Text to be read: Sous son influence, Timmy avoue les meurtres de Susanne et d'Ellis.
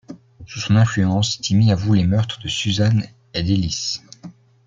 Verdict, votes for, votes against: accepted, 2, 1